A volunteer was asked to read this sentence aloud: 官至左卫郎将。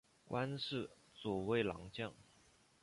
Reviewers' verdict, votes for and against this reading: accepted, 2, 0